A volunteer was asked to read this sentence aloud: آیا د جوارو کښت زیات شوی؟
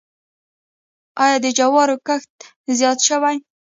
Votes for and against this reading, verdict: 0, 2, rejected